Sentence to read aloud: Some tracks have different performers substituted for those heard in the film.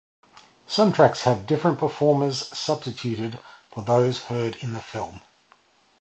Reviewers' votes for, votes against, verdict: 2, 0, accepted